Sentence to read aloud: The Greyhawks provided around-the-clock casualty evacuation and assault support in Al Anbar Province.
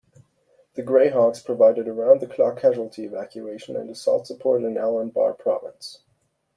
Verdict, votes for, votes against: accepted, 2, 0